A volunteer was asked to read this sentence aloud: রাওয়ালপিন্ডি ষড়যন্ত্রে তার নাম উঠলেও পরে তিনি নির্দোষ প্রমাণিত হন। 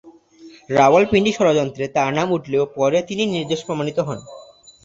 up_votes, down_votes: 2, 0